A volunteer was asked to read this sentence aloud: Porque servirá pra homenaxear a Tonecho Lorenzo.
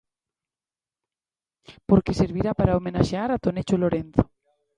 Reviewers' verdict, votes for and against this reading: accepted, 2, 0